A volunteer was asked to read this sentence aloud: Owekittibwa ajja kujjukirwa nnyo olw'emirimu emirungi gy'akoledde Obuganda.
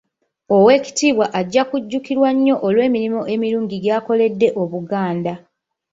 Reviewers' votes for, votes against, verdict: 2, 0, accepted